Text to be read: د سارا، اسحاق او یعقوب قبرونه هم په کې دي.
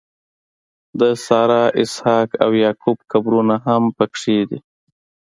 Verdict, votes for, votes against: accepted, 3, 0